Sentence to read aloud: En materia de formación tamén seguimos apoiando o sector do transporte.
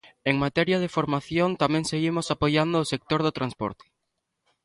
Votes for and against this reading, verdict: 2, 0, accepted